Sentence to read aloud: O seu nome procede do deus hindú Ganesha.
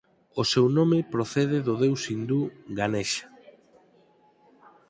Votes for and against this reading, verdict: 4, 0, accepted